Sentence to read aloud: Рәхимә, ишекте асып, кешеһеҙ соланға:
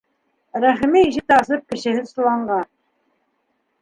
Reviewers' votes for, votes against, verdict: 2, 0, accepted